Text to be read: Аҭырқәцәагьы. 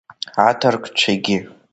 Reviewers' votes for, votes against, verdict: 2, 0, accepted